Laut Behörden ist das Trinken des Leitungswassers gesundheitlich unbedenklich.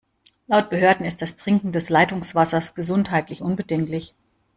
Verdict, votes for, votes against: accepted, 2, 0